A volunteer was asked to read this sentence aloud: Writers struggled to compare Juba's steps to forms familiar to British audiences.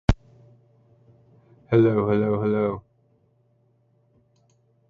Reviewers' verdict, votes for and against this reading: rejected, 0, 2